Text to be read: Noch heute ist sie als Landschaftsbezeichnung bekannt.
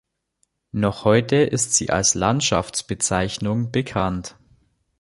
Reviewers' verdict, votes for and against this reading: accepted, 2, 0